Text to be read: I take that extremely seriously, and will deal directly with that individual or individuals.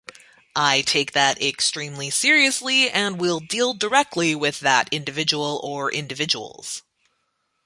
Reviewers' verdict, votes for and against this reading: rejected, 0, 2